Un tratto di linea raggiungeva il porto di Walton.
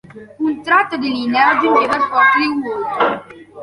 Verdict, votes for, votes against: rejected, 1, 2